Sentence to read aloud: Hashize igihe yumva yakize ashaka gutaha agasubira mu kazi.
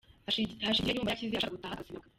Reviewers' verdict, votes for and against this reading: rejected, 1, 2